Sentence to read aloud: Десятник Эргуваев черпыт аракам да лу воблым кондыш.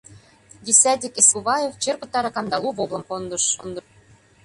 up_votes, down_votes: 0, 2